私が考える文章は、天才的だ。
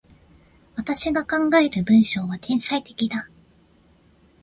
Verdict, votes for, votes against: accepted, 2, 0